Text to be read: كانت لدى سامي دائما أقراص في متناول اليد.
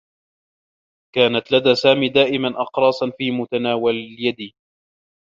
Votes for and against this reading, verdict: 0, 2, rejected